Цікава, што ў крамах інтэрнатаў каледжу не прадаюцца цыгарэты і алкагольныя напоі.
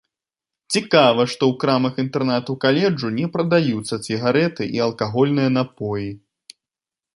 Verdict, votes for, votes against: accepted, 2, 1